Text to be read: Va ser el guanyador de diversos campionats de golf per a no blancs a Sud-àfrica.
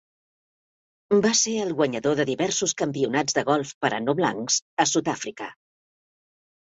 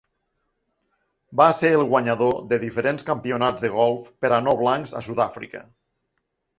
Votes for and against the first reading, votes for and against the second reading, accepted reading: 5, 0, 0, 2, first